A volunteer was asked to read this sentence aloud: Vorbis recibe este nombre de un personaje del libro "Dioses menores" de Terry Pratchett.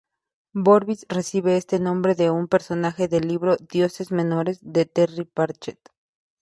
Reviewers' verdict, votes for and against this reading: rejected, 0, 2